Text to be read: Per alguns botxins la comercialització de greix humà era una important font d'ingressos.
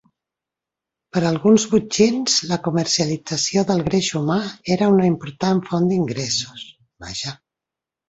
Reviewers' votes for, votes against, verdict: 1, 2, rejected